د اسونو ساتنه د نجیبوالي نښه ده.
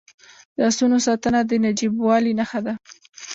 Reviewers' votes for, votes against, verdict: 0, 2, rejected